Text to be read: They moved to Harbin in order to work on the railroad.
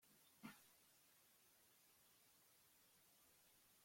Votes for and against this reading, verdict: 0, 2, rejected